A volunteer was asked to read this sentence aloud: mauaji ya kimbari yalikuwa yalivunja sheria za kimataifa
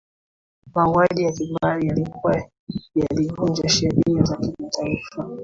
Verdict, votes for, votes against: accepted, 2, 1